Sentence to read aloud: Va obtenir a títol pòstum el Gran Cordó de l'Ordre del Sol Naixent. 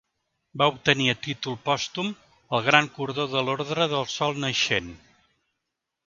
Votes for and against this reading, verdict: 2, 0, accepted